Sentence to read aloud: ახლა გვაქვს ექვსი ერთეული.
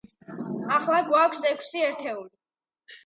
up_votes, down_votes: 2, 0